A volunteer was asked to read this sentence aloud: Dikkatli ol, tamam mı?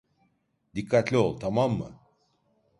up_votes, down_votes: 2, 0